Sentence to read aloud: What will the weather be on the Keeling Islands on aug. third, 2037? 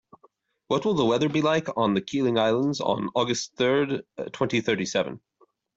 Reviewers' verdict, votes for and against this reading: rejected, 0, 2